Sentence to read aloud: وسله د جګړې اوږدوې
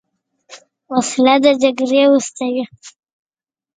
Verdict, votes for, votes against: accepted, 2, 0